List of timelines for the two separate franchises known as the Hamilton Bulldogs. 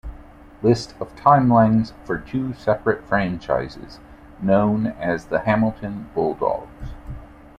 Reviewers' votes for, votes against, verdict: 0, 2, rejected